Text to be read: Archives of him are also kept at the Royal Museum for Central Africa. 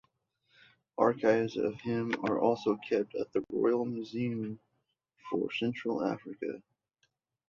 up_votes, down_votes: 2, 0